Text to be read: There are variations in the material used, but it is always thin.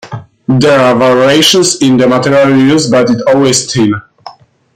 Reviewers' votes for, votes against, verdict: 1, 2, rejected